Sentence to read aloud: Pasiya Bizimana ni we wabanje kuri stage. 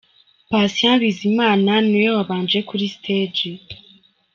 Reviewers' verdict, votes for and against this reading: accepted, 3, 1